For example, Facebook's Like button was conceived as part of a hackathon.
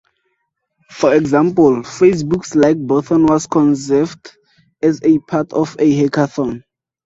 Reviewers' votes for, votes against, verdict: 0, 4, rejected